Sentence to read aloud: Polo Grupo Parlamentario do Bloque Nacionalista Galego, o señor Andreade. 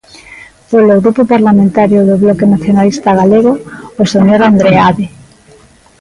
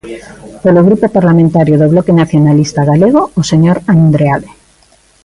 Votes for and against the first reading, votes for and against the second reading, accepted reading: 1, 2, 2, 0, second